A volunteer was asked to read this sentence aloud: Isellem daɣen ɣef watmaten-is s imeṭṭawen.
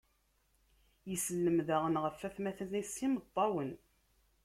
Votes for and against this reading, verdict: 1, 2, rejected